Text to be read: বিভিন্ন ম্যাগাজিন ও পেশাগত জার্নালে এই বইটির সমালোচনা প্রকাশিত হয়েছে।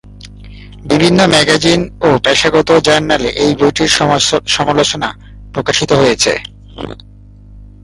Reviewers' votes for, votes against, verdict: 2, 2, rejected